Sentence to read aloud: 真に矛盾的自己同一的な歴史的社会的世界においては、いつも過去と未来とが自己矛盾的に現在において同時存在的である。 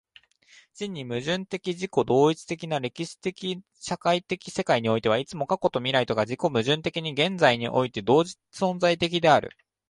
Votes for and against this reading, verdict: 2, 1, accepted